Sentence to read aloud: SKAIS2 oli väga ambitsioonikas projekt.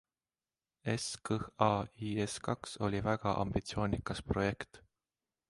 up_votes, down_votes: 0, 2